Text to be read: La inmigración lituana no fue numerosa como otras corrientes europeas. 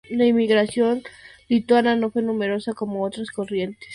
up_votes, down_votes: 0, 2